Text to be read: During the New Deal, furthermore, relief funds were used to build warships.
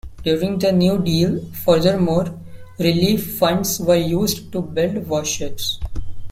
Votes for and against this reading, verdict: 0, 2, rejected